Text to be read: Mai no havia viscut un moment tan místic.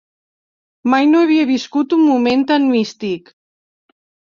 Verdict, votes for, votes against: accepted, 3, 0